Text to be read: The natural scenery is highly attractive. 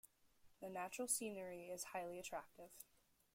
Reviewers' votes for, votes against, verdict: 2, 0, accepted